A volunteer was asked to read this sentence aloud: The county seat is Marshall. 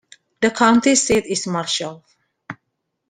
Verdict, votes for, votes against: rejected, 1, 2